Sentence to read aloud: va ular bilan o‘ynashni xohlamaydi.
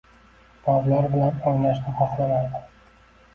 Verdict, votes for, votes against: accepted, 2, 0